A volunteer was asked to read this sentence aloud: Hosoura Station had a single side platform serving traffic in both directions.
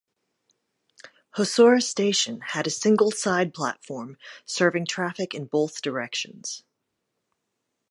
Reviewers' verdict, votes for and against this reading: accepted, 2, 0